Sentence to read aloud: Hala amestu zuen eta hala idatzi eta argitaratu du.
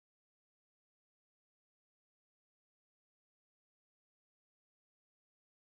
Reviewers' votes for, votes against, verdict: 0, 3, rejected